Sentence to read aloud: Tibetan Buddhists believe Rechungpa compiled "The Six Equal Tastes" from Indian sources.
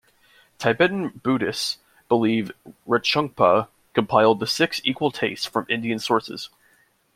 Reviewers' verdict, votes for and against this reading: accepted, 2, 1